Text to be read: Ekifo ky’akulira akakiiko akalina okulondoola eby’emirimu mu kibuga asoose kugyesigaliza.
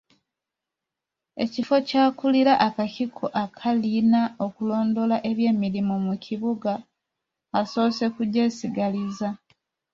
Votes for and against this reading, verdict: 0, 2, rejected